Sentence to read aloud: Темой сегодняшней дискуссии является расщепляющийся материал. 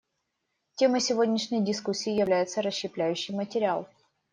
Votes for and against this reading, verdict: 0, 2, rejected